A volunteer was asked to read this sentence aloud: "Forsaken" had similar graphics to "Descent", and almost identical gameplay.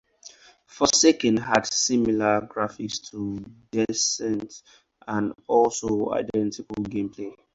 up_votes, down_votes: 0, 4